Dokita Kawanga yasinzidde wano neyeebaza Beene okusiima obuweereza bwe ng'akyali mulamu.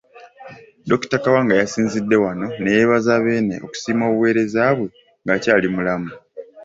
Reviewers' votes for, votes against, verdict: 2, 0, accepted